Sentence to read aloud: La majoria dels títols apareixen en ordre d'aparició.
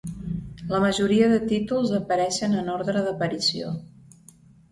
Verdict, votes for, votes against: rejected, 0, 2